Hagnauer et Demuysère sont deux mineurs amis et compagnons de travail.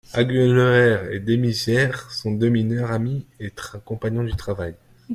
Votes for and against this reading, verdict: 0, 2, rejected